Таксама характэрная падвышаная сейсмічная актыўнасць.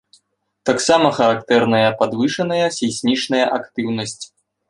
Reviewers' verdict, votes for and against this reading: accepted, 2, 0